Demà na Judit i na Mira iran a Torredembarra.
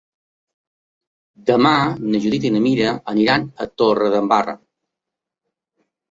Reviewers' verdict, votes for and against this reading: rejected, 0, 2